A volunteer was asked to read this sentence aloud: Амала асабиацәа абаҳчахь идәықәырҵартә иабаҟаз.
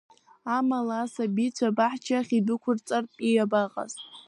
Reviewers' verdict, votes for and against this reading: rejected, 1, 2